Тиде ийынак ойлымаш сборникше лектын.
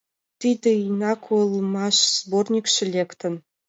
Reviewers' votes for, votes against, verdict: 2, 1, accepted